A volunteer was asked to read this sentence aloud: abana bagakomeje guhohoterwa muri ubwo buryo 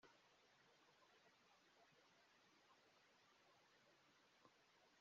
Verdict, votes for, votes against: rejected, 0, 2